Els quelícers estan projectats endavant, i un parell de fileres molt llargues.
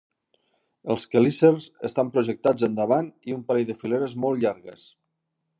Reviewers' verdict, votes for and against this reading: accepted, 2, 0